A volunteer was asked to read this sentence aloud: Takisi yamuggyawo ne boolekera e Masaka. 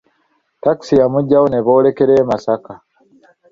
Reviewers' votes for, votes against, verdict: 2, 0, accepted